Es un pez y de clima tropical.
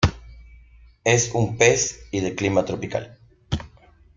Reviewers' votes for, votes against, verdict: 2, 0, accepted